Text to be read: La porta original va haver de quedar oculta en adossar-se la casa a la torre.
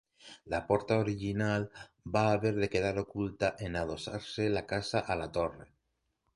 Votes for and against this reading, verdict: 3, 0, accepted